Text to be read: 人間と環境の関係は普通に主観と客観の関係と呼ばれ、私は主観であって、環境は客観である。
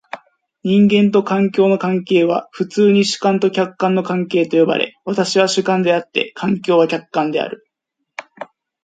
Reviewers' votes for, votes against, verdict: 3, 0, accepted